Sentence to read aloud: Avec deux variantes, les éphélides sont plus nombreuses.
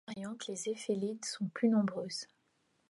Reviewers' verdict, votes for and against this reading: rejected, 0, 2